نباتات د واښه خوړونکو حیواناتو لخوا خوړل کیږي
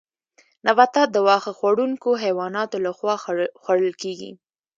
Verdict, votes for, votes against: accepted, 2, 0